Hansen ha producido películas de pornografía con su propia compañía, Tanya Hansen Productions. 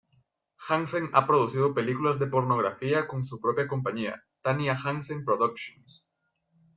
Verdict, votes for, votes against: accepted, 2, 0